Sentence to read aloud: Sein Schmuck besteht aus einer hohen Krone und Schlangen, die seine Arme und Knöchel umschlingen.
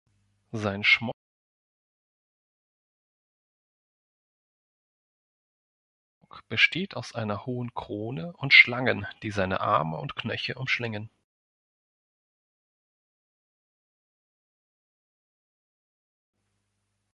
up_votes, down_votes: 0, 2